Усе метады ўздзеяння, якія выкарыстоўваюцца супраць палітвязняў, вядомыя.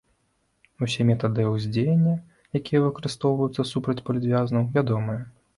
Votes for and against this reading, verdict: 0, 2, rejected